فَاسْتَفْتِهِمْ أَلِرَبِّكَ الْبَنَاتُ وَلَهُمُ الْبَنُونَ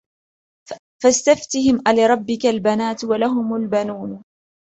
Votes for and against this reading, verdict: 2, 0, accepted